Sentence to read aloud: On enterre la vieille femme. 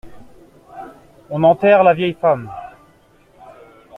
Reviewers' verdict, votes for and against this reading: accepted, 3, 0